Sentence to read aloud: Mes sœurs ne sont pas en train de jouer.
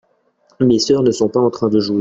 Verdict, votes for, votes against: accepted, 2, 1